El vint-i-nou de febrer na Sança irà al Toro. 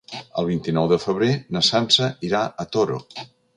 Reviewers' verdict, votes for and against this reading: rejected, 1, 3